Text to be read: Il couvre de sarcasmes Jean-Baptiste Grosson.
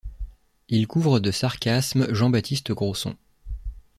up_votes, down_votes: 2, 0